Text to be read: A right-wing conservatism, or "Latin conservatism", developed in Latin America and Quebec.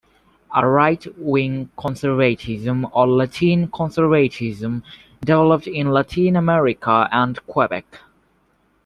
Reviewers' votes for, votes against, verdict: 2, 0, accepted